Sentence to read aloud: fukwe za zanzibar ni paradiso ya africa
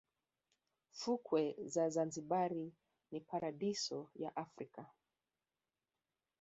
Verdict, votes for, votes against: rejected, 1, 3